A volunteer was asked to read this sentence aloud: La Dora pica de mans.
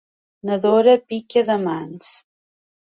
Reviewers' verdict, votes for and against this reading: accepted, 3, 1